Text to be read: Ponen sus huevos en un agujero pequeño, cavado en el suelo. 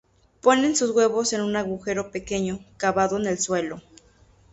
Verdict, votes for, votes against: accepted, 4, 0